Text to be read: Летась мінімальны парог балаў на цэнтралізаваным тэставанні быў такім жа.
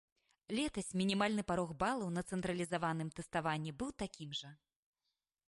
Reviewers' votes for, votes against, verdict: 2, 0, accepted